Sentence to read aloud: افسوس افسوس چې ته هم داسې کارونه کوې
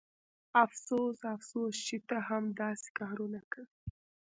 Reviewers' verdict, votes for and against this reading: rejected, 1, 2